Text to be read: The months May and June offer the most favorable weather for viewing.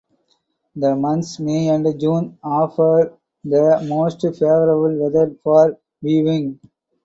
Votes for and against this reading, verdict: 4, 2, accepted